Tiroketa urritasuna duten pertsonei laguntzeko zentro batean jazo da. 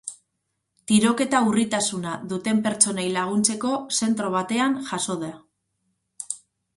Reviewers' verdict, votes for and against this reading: rejected, 2, 2